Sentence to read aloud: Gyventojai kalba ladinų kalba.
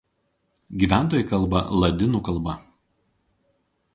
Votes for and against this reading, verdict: 4, 0, accepted